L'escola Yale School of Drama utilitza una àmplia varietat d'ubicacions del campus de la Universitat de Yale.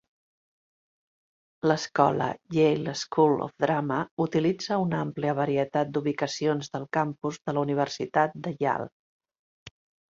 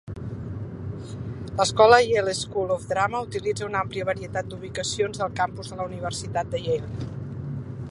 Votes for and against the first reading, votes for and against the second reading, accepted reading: 0, 2, 3, 1, second